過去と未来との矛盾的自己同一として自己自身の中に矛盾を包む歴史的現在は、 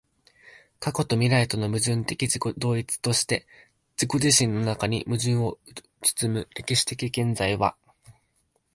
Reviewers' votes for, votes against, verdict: 2, 0, accepted